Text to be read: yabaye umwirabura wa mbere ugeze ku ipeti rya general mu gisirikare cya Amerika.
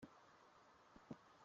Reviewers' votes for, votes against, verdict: 0, 2, rejected